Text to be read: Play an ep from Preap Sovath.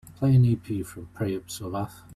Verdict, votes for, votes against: rejected, 1, 2